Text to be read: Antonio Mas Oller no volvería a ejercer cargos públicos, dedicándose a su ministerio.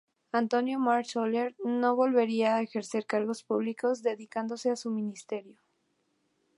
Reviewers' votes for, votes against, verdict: 2, 0, accepted